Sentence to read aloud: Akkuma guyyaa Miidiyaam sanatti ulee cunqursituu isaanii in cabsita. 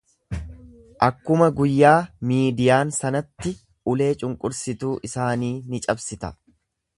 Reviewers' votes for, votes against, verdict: 0, 2, rejected